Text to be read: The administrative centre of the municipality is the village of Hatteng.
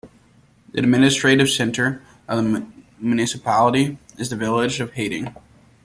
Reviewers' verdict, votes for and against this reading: accepted, 2, 0